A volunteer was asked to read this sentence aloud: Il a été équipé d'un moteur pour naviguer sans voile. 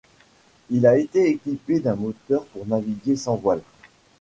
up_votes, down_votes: 2, 0